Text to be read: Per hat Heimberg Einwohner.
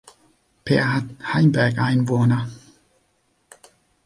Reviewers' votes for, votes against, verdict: 2, 0, accepted